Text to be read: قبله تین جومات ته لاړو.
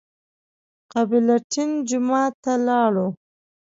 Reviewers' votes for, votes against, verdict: 1, 2, rejected